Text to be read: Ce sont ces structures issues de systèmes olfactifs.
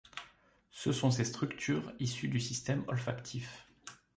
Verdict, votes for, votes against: rejected, 0, 2